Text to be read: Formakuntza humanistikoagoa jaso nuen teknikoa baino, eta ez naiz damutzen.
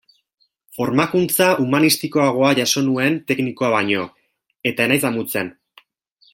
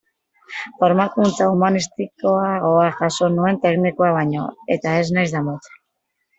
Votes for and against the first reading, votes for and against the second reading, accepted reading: 2, 0, 1, 2, first